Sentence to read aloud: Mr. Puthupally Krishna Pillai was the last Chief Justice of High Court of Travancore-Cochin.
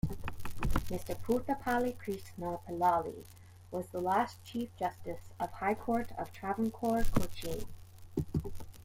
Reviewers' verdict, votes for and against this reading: rejected, 1, 2